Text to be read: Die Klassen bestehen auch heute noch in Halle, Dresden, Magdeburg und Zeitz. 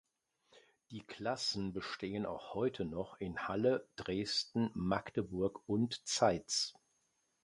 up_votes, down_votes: 2, 0